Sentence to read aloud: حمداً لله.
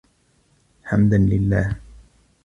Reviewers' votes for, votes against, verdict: 2, 1, accepted